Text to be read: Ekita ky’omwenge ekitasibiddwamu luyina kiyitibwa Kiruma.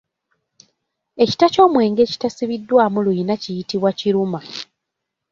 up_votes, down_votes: 2, 0